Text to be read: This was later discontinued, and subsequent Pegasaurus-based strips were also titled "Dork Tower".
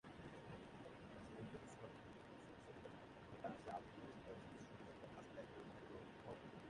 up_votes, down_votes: 0, 2